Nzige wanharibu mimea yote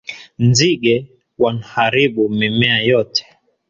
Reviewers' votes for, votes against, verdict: 2, 0, accepted